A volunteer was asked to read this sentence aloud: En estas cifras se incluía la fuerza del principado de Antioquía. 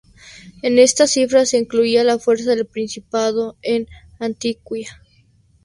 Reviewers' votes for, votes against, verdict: 0, 2, rejected